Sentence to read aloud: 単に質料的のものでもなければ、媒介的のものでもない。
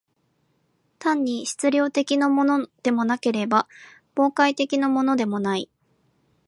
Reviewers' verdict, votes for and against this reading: rejected, 0, 2